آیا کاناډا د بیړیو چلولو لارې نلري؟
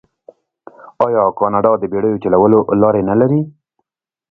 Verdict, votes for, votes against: accepted, 2, 0